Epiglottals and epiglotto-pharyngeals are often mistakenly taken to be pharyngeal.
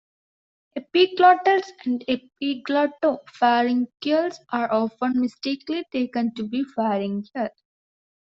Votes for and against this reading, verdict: 1, 2, rejected